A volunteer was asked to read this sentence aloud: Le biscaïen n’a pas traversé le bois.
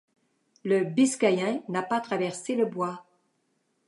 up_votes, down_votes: 2, 0